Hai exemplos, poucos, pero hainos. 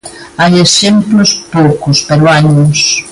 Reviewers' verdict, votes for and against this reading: accepted, 2, 0